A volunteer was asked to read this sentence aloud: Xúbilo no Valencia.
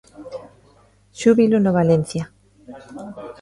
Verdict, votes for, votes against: rejected, 1, 2